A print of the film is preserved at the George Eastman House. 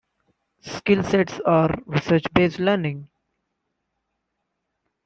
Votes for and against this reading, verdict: 0, 2, rejected